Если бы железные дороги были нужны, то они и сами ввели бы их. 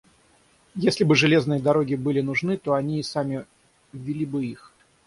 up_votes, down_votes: 3, 6